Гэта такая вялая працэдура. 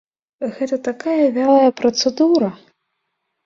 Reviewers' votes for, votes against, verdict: 2, 0, accepted